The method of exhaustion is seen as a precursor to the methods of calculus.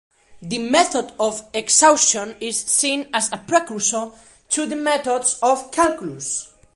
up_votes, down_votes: 2, 0